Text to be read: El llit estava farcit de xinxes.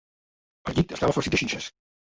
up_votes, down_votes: 1, 2